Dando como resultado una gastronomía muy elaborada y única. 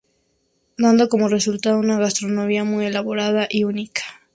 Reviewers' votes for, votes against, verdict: 2, 0, accepted